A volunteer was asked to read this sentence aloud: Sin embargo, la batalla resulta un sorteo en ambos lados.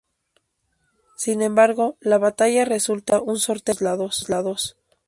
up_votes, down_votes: 2, 2